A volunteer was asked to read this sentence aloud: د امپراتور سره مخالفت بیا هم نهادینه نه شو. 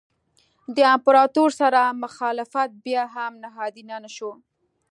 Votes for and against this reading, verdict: 2, 0, accepted